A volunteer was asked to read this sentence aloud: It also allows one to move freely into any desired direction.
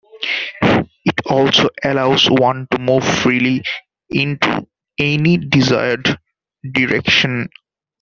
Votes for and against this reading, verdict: 2, 0, accepted